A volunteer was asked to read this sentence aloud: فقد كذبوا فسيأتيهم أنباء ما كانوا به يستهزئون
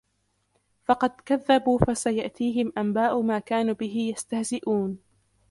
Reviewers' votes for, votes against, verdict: 1, 2, rejected